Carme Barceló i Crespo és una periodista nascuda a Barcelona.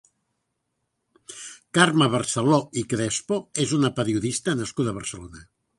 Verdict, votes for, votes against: accepted, 2, 0